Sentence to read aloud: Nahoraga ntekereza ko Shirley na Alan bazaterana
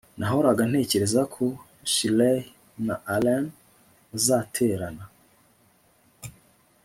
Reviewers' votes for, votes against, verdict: 2, 0, accepted